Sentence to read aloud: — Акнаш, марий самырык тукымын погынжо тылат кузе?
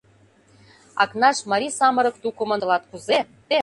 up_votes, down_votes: 0, 2